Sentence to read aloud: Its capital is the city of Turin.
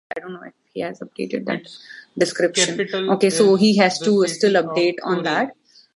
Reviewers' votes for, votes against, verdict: 0, 2, rejected